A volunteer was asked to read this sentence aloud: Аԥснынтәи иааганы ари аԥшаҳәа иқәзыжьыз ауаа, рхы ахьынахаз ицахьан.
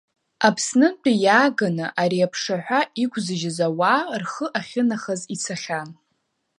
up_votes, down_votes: 2, 0